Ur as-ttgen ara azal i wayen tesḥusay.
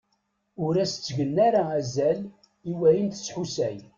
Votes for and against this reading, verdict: 2, 0, accepted